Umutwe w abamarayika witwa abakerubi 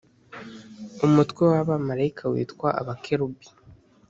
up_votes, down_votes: 3, 0